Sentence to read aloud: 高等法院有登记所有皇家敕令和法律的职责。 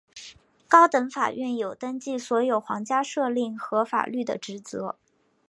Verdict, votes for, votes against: accepted, 2, 0